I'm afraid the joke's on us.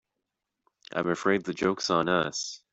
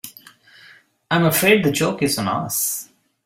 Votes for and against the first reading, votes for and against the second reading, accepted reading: 2, 0, 0, 2, first